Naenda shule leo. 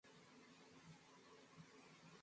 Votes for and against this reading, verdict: 0, 2, rejected